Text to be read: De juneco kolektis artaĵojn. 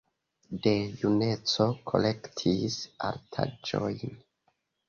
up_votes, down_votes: 2, 0